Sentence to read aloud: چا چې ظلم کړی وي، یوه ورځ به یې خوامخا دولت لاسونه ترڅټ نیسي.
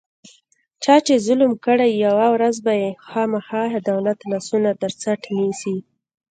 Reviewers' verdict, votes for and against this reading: accepted, 2, 1